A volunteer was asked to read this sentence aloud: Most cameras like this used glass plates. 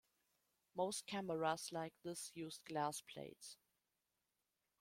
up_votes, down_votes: 2, 0